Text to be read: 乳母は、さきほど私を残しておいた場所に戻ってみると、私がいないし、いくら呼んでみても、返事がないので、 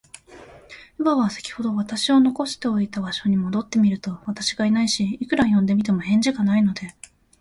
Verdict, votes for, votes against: accepted, 2, 0